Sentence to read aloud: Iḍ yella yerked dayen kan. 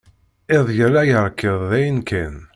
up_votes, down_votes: 1, 2